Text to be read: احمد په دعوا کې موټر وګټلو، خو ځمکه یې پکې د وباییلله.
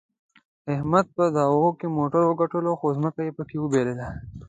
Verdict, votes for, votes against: accepted, 2, 0